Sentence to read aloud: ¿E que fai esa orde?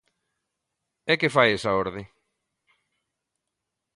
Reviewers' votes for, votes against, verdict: 2, 0, accepted